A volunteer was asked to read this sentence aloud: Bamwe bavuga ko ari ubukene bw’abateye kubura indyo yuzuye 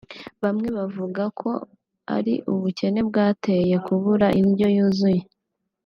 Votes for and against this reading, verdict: 1, 2, rejected